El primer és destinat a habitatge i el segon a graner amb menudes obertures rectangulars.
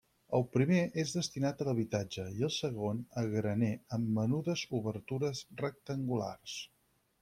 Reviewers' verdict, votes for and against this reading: accepted, 4, 2